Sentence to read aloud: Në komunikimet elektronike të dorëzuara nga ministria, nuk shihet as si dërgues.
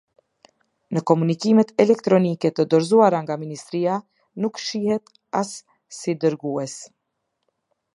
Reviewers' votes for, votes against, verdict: 2, 0, accepted